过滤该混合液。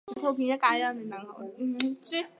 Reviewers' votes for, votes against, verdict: 1, 2, rejected